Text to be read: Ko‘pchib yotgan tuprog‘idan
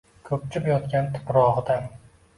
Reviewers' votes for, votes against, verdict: 2, 0, accepted